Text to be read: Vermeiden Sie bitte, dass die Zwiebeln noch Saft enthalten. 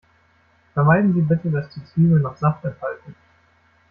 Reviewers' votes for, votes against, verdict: 1, 2, rejected